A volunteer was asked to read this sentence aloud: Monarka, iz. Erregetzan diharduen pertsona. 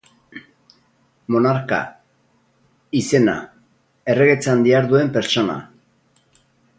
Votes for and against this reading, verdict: 0, 2, rejected